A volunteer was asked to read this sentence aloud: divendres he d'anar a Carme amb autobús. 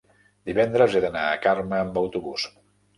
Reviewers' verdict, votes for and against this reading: accepted, 3, 0